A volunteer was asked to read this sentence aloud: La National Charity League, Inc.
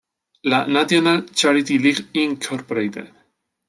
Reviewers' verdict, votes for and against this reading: rejected, 1, 2